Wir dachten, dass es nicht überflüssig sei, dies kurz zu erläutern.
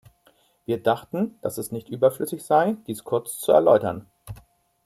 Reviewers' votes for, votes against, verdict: 2, 0, accepted